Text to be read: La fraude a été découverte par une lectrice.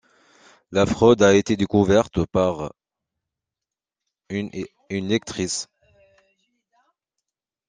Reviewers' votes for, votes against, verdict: 1, 2, rejected